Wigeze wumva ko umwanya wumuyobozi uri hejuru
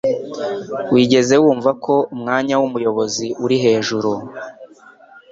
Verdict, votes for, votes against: accepted, 2, 0